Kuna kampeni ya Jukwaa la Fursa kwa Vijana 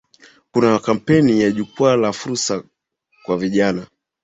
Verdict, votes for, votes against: accepted, 3, 0